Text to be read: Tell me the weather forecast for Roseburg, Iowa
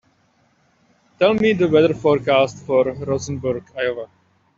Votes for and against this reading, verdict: 1, 2, rejected